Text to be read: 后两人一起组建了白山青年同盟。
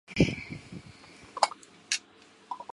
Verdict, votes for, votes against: rejected, 3, 5